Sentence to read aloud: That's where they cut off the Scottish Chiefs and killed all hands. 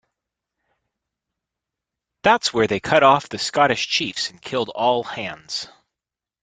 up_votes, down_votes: 1, 2